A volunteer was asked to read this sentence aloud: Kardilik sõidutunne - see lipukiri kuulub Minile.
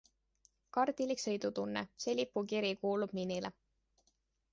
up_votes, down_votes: 2, 0